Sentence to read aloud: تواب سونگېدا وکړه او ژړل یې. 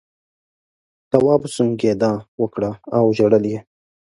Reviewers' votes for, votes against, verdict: 4, 0, accepted